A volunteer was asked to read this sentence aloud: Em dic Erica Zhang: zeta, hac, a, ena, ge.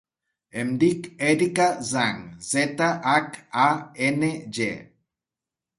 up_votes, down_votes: 0, 2